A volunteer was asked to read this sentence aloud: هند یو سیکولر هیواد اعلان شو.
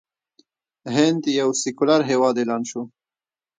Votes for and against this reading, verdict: 2, 1, accepted